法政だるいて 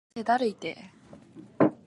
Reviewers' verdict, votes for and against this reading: rejected, 0, 3